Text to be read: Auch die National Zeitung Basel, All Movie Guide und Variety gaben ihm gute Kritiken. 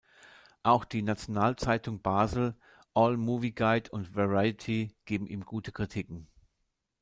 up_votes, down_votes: 1, 2